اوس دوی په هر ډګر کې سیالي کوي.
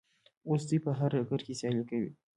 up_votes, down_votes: 1, 2